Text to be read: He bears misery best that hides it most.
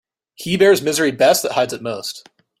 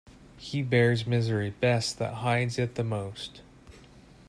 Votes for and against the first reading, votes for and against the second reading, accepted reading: 2, 0, 4, 8, first